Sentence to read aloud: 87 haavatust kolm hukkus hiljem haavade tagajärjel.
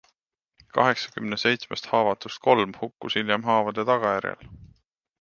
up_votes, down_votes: 0, 2